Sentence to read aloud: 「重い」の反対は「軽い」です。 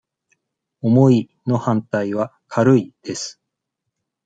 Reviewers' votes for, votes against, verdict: 2, 0, accepted